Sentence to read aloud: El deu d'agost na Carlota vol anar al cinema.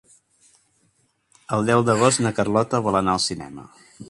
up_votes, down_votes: 3, 0